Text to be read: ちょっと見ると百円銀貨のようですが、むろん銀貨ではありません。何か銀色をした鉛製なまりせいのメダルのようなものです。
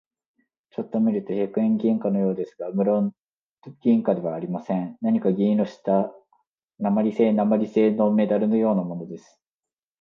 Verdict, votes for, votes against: accepted, 2, 0